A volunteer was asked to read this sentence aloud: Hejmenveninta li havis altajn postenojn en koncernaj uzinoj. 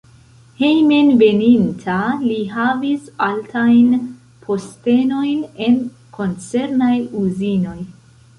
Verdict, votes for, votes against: rejected, 1, 2